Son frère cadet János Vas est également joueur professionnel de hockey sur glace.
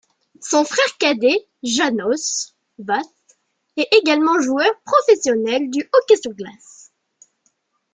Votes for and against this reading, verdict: 0, 2, rejected